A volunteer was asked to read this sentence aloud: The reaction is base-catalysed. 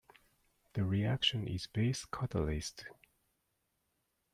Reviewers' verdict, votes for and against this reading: rejected, 0, 2